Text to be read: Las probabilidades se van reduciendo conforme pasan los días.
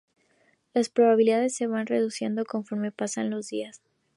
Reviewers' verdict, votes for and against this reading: accepted, 2, 0